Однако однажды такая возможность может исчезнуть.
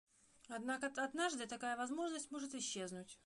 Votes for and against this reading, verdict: 1, 2, rejected